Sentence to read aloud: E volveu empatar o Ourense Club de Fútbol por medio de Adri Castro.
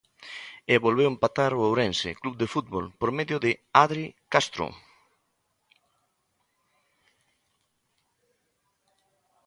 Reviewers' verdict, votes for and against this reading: accepted, 2, 0